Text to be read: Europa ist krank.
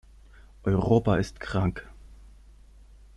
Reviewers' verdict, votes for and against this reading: accepted, 3, 0